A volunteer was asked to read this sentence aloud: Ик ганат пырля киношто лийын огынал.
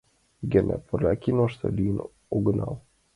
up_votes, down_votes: 2, 0